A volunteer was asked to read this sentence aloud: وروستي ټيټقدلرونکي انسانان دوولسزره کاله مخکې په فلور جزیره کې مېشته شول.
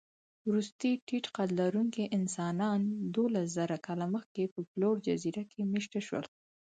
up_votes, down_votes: 2, 4